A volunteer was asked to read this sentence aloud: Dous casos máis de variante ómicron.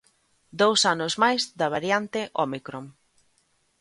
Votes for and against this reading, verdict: 0, 2, rejected